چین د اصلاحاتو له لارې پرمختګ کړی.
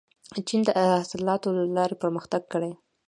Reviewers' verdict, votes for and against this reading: accepted, 2, 0